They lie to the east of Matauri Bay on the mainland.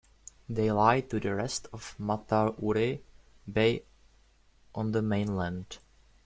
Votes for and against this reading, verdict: 0, 2, rejected